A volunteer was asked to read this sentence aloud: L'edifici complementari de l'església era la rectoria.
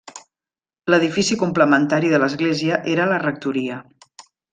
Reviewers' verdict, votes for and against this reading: accepted, 3, 0